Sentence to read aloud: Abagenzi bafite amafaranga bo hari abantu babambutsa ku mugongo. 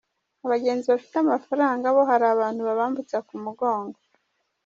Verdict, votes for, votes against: accepted, 2, 1